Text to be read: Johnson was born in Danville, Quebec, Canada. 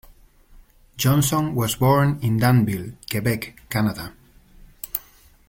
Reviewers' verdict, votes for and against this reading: accepted, 2, 0